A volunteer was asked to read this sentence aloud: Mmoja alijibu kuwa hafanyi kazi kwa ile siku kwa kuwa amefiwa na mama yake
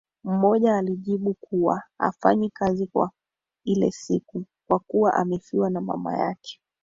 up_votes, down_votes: 4, 1